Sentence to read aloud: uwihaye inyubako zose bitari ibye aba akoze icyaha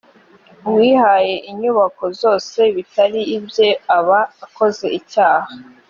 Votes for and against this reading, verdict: 2, 0, accepted